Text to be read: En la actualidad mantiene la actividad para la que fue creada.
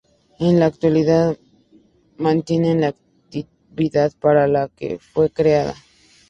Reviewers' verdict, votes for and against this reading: rejected, 0, 2